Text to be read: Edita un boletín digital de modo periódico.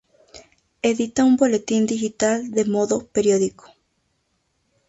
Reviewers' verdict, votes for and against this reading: rejected, 0, 2